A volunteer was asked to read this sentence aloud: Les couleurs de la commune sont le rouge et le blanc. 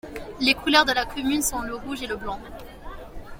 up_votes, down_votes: 2, 0